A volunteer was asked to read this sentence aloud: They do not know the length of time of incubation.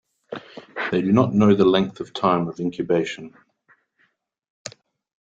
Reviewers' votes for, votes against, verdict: 2, 0, accepted